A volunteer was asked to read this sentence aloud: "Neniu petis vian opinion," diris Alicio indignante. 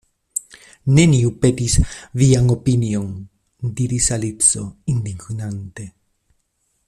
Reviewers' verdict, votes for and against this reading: rejected, 0, 2